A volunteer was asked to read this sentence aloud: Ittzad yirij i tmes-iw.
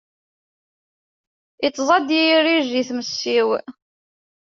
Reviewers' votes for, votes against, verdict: 2, 1, accepted